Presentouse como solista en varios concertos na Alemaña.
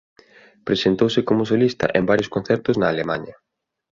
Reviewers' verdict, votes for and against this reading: accepted, 2, 1